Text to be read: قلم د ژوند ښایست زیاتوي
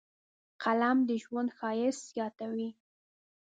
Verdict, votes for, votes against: accepted, 2, 0